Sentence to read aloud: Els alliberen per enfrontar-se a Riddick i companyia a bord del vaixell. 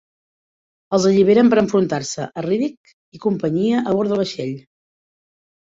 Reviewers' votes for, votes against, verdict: 2, 1, accepted